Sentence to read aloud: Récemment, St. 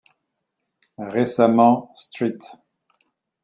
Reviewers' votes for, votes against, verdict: 0, 2, rejected